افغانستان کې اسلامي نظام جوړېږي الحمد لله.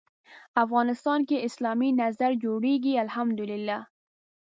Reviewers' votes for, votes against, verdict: 1, 2, rejected